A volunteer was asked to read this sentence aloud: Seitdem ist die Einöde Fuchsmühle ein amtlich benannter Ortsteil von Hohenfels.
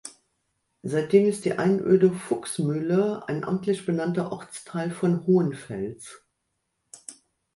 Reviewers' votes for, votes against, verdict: 2, 0, accepted